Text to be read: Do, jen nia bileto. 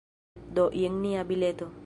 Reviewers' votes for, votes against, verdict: 2, 0, accepted